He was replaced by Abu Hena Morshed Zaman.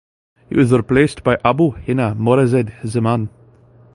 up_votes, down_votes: 0, 2